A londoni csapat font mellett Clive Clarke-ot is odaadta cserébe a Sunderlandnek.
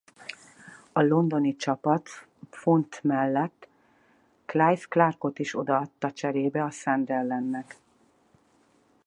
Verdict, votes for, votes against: accepted, 4, 0